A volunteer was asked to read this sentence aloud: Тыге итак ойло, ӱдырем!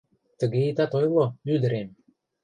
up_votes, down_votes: 0, 2